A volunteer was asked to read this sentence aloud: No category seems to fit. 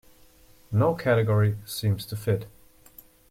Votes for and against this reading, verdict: 2, 0, accepted